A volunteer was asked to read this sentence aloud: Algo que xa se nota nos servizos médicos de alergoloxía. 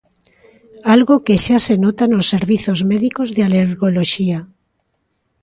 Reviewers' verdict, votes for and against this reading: accepted, 2, 0